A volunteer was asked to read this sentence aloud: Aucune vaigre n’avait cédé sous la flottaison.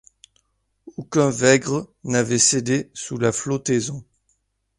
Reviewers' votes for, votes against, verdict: 1, 2, rejected